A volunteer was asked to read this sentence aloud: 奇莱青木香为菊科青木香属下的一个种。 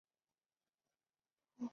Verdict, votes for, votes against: rejected, 0, 2